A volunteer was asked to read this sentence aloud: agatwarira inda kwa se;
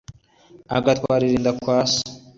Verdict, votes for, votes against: accepted, 2, 0